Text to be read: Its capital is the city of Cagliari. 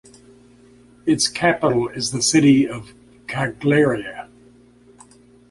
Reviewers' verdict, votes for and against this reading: rejected, 1, 2